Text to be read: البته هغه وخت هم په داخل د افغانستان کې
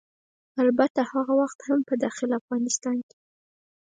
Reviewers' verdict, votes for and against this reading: accepted, 6, 0